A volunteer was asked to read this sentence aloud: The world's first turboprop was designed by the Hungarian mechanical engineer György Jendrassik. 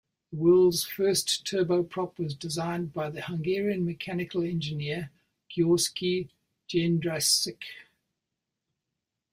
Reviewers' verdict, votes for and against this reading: rejected, 1, 2